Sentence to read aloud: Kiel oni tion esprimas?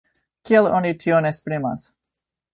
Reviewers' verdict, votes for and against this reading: accepted, 3, 1